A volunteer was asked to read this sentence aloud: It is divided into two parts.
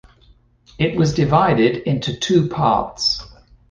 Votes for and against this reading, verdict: 1, 2, rejected